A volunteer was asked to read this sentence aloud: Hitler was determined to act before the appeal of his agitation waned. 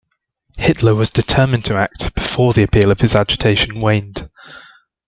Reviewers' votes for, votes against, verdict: 2, 0, accepted